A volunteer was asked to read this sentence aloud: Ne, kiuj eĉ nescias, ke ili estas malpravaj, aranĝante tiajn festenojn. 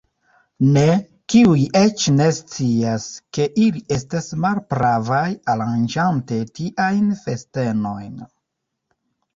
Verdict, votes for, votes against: rejected, 1, 2